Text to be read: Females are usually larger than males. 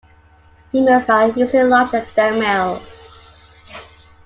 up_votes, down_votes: 1, 2